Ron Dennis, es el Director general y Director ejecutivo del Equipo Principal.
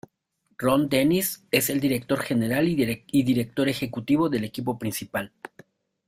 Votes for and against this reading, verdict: 0, 2, rejected